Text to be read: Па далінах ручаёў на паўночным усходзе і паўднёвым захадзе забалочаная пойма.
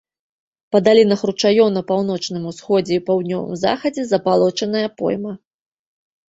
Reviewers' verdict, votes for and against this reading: accepted, 2, 0